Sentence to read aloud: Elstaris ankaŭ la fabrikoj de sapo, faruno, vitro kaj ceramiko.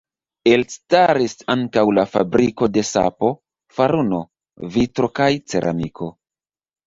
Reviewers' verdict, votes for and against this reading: rejected, 0, 2